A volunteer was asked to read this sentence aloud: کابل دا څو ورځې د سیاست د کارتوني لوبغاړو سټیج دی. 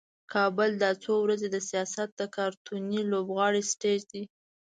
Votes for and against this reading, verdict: 2, 0, accepted